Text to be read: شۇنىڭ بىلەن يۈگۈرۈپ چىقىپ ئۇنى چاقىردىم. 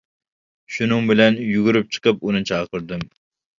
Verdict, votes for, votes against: accepted, 2, 0